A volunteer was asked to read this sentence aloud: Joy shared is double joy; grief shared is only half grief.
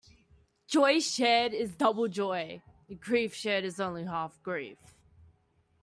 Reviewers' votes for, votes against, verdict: 2, 0, accepted